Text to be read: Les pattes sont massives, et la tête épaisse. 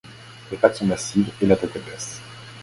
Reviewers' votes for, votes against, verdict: 2, 1, accepted